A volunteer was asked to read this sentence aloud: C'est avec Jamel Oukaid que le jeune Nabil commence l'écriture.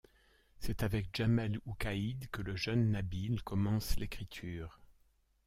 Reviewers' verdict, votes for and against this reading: rejected, 1, 2